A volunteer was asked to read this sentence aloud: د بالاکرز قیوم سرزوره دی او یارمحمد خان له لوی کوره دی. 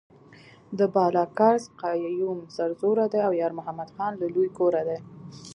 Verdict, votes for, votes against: rejected, 1, 2